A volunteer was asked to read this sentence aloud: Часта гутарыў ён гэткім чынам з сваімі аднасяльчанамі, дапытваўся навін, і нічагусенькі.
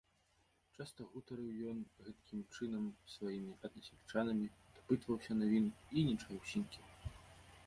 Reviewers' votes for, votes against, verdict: 1, 2, rejected